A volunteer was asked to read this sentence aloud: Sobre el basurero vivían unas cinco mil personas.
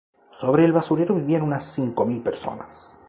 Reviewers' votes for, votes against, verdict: 4, 0, accepted